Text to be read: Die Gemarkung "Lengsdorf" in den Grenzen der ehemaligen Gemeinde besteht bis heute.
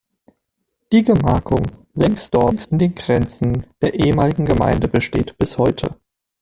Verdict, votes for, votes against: rejected, 1, 2